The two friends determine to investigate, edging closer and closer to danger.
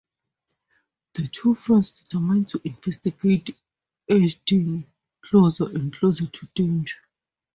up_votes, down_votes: 2, 0